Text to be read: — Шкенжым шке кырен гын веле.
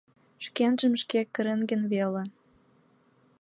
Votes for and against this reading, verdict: 2, 0, accepted